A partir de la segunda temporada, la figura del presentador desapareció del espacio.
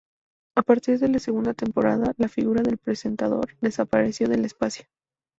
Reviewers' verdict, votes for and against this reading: rejected, 0, 2